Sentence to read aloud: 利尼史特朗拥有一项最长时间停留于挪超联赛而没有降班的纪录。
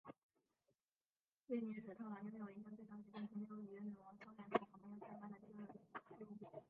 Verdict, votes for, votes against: rejected, 0, 4